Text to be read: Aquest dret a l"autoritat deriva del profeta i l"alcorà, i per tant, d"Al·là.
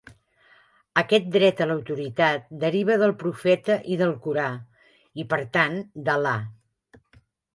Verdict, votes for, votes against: rejected, 1, 2